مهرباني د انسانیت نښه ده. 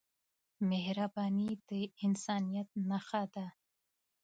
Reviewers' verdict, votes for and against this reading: rejected, 0, 2